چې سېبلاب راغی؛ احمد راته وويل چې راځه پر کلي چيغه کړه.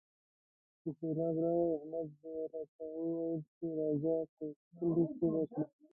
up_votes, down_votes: 1, 2